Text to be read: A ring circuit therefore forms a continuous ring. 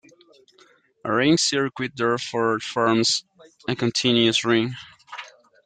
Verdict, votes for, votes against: rejected, 0, 2